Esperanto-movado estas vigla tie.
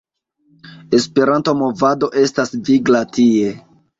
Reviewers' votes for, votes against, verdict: 2, 0, accepted